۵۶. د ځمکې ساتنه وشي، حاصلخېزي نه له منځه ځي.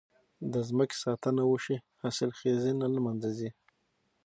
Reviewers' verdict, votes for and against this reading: rejected, 0, 2